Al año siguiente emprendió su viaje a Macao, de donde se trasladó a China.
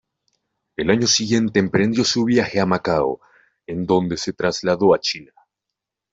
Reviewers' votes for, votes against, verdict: 1, 2, rejected